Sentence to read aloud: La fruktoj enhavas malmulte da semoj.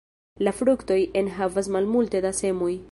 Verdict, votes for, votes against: accepted, 2, 0